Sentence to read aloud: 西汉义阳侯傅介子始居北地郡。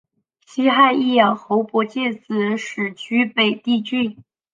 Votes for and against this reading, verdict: 3, 2, accepted